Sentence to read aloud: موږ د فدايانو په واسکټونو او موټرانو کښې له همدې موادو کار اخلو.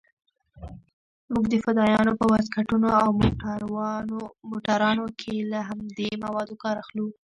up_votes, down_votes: 1, 2